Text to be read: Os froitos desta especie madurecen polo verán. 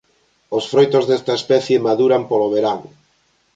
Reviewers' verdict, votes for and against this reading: rejected, 1, 2